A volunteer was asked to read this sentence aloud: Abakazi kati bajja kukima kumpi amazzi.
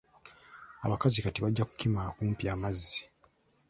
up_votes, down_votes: 2, 0